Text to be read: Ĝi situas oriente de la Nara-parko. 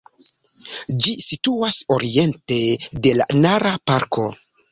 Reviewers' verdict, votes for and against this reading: accepted, 2, 0